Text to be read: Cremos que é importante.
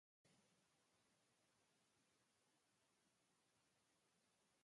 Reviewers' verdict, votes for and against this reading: rejected, 0, 2